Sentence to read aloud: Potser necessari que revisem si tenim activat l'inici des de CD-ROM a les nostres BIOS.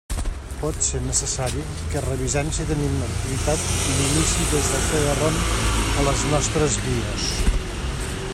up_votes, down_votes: 2, 1